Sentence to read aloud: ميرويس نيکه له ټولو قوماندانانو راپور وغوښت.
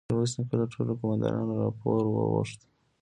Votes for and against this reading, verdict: 2, 1, accepted